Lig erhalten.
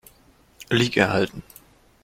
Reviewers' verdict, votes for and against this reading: accepted, 2, 0